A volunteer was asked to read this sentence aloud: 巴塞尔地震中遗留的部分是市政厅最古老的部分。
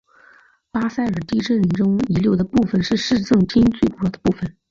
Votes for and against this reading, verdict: 2, 3, rejected